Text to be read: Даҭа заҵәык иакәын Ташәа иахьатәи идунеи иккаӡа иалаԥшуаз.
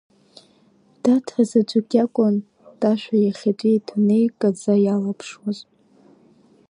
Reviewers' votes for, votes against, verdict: 2, 0, accepted